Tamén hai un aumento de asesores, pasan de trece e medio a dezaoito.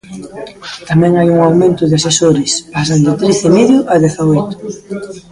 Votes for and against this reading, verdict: 1, 2, rejected